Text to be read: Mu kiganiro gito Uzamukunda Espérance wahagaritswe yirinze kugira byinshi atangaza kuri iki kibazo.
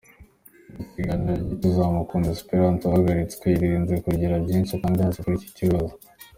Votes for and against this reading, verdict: 2, 1, accepted